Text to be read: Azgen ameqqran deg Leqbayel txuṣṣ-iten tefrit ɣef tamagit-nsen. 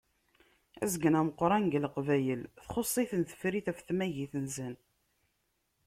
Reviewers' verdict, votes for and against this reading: accepted, 2, 0